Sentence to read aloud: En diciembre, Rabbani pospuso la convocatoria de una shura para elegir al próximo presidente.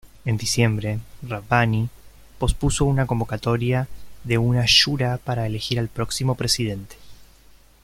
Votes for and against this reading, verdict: 1, 2, rejected